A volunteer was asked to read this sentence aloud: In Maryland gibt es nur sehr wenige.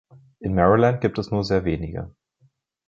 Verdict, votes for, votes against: accepted, 2, 0